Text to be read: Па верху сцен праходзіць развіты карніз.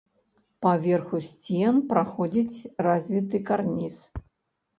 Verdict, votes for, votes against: accepted, 3, 1